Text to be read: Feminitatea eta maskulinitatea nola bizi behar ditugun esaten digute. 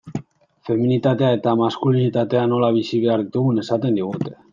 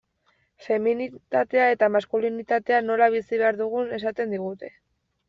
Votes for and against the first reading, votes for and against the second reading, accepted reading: 2, 0, 1, 2, first